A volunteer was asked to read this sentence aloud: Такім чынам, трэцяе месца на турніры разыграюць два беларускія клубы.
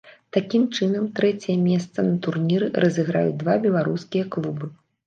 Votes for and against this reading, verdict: 2, 0, accepted